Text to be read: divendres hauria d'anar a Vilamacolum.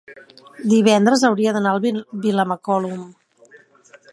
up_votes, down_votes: 0, 2